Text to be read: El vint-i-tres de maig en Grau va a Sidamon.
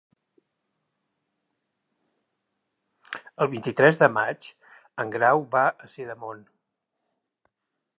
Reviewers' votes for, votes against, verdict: 0, 2, rejected